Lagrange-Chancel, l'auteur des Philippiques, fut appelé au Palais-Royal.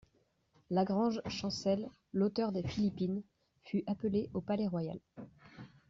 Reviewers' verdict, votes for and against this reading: rejected, 1, 2